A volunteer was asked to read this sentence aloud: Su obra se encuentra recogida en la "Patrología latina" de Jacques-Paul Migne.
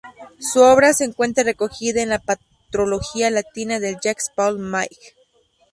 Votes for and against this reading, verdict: 0, 2, rejected